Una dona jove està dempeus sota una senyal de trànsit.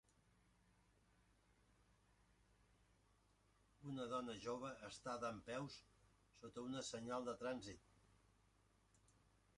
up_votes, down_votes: 0, 3